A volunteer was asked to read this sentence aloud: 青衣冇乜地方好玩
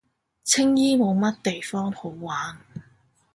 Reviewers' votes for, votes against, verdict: 2, 0, accepted